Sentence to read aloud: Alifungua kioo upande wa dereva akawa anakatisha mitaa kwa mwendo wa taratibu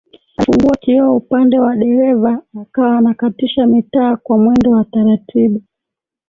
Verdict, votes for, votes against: rejected, 1, 2